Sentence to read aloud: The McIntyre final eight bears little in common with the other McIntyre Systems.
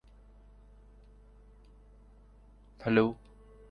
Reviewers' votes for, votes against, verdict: 0, 2, rejected